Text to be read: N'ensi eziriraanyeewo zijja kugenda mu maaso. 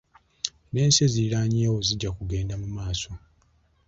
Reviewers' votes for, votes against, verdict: 2, 0, accepted